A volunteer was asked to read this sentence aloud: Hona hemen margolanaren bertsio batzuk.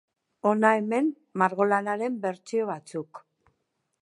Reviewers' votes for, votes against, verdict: 3, 0, accepted